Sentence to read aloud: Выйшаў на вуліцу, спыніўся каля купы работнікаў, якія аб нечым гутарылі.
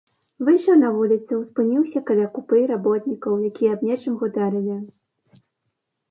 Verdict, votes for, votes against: accepted, 2, 0